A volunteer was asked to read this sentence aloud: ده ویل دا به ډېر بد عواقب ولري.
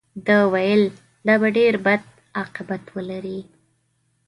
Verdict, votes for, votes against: rejected, 0, 2